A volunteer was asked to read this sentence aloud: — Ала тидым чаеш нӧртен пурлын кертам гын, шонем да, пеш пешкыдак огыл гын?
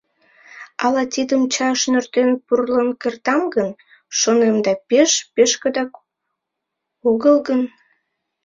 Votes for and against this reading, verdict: 1, 2, rejected